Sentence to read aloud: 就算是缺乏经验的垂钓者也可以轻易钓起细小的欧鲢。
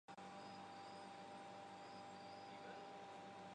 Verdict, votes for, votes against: rejected, 1, 5